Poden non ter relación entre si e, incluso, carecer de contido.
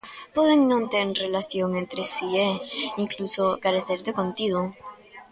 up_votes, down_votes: 0, 2